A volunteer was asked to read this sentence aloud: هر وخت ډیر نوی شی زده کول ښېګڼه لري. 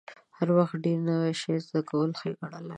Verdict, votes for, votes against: accepted, 2, 0